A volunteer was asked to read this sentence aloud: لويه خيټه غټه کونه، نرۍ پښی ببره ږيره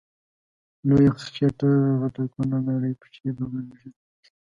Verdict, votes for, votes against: accepted, 2, 0